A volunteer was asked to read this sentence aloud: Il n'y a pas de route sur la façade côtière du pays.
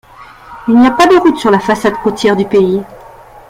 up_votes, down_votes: 2, 0